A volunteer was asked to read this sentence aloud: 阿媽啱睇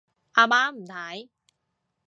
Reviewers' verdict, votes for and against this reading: rejected, 1, 2